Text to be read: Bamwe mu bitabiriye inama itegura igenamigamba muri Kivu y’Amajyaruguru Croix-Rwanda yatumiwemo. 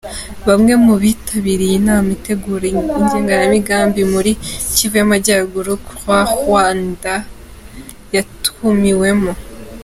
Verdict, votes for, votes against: rejected, 2, 3